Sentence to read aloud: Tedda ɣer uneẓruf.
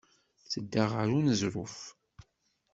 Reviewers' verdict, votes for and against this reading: rejected, 0, 2